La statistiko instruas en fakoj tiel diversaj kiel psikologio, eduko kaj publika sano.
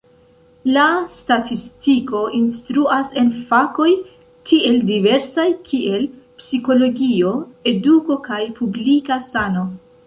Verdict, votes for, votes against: rejected, 1, 2